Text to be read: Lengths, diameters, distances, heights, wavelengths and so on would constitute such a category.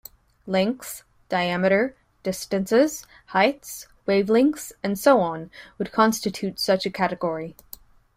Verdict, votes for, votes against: rejected, 1, 2